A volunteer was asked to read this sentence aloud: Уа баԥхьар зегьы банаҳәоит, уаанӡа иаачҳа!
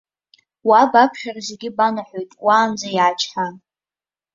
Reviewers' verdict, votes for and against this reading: accepted, 2, 0